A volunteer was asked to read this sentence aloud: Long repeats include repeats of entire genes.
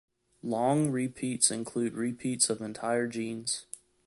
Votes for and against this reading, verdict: 2, 0, accepted